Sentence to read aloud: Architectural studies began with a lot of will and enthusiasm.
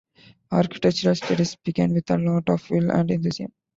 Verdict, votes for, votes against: rejected, 0, 3